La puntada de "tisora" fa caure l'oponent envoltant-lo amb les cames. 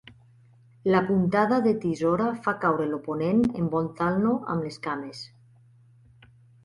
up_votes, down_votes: 2, 0